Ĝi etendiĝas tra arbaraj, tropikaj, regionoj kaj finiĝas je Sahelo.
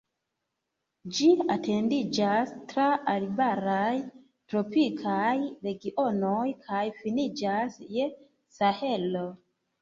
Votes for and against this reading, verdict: 2, 0, accepted